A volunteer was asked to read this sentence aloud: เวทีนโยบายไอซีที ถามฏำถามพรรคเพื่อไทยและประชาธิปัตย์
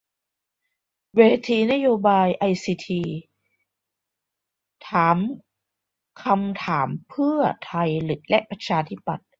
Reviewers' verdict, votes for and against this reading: rejected, 0, 2